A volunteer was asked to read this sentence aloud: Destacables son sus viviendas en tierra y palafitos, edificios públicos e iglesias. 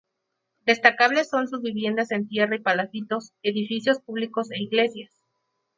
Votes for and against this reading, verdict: 4, 0, accepted